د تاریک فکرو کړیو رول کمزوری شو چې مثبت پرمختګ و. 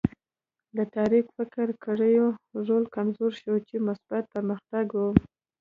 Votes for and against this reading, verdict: 2, 0, accepted